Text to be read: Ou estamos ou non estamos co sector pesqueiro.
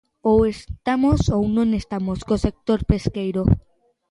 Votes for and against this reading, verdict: 2, 0, accepted